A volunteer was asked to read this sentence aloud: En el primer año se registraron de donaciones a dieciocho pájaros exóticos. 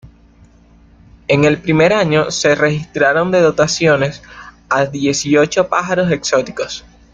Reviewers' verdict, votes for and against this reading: rejected, 0, 2